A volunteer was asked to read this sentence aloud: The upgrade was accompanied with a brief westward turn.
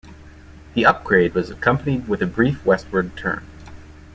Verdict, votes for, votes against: accepted, 2, 0